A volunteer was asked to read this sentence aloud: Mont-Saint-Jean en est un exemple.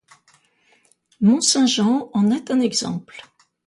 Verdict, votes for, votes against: accepted, 2, 0